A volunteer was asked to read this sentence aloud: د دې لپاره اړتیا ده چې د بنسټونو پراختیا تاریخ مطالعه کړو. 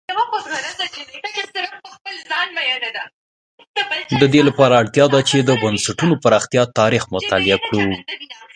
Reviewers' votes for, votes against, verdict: 0, 2, rejected